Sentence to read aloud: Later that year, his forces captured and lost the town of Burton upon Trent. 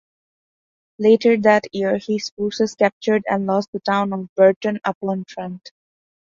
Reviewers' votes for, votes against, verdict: 2, 0, accepted